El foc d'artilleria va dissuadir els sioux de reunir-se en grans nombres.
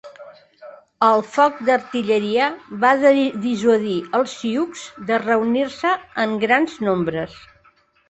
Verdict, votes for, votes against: rejected, 0, 2